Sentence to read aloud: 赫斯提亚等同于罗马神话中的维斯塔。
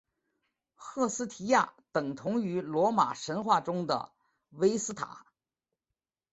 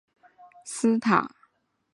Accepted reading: first